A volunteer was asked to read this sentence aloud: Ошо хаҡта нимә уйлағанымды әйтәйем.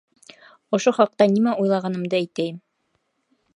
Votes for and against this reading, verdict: 2, 0, accepted